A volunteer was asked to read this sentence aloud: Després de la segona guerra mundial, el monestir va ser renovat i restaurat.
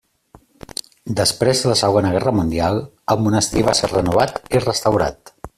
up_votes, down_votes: 1, 2